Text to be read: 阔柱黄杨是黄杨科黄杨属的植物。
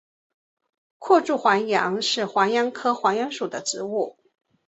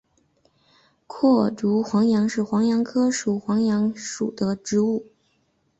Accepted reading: first